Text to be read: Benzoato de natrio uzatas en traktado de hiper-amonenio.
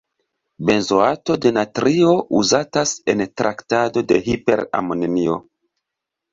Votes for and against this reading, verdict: 1, 3, rejected